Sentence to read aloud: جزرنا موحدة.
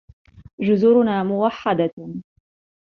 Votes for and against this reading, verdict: 1, 2, rejected